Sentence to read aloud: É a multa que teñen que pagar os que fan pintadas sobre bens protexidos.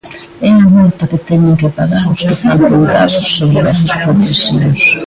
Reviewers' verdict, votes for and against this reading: rejected, 0, 2